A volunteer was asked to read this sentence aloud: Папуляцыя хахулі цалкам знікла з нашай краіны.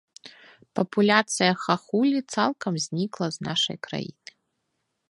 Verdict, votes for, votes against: accepted, 2, 0